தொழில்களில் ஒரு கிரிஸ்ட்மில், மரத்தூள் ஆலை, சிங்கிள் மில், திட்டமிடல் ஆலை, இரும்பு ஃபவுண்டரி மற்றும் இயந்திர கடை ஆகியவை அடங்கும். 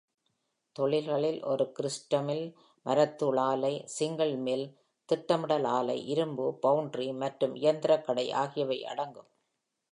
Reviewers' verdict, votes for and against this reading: accepted, 2, 0